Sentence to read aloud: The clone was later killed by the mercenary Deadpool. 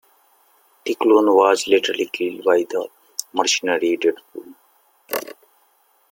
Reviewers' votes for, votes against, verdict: 0, 2, rejected